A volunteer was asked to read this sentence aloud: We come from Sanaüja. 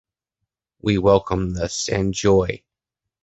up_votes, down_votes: 0, 2